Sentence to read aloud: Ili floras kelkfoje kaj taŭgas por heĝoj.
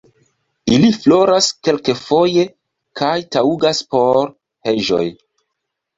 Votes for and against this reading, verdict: 0, 2, rejected